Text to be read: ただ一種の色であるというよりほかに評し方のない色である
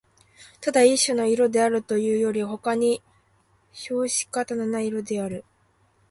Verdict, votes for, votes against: rejected, 1, 2